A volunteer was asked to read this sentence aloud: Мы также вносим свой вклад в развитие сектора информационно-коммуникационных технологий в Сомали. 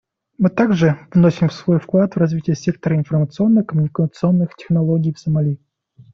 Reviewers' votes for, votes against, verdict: 2, 0, accepted